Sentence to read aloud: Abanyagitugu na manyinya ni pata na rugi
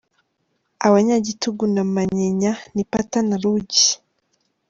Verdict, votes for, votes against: accepted, 3, 0